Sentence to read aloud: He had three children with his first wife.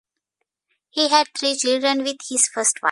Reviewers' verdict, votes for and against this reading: rejected, 1, 2